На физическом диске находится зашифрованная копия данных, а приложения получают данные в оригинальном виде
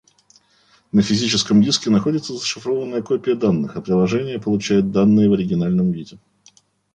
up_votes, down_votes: 2, 0